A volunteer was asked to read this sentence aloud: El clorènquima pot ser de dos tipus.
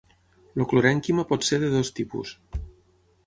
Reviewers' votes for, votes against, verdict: 6, 9, rejected